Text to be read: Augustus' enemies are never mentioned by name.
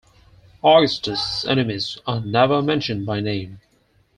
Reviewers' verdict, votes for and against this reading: rejected, 2, 4